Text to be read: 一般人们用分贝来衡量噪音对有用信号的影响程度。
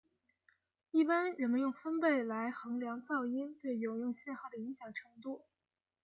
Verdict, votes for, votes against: accepted, 2, 1